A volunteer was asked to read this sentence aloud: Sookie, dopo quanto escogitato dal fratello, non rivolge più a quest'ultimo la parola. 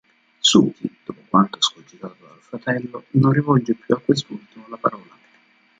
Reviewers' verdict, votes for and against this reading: rejected, 0, 2